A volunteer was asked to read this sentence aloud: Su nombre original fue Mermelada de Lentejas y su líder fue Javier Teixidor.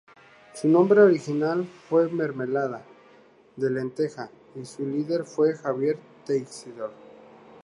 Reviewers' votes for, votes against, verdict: 2, 0, accepted